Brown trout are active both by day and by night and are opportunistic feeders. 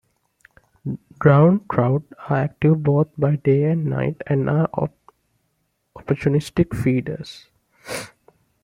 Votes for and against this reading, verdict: 1, 2, rejected